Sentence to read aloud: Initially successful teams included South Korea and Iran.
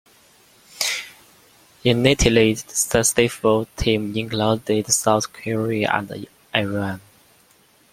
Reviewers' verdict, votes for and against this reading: rejected, 0, 2